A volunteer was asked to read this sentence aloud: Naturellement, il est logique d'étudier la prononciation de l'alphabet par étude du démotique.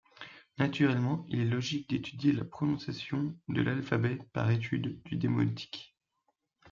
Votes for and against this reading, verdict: 2, 0, accepted